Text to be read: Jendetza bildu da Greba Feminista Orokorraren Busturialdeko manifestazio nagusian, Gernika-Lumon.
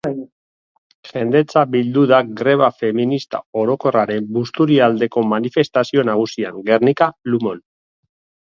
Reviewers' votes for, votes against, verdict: 2, 1, accepted